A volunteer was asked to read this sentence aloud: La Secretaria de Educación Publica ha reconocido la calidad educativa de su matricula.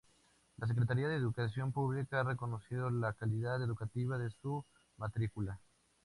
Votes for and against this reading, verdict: 0, 2, rejected